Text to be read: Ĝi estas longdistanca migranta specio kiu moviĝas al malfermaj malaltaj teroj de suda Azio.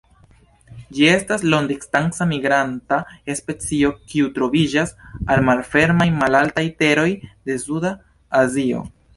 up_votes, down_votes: 1, 2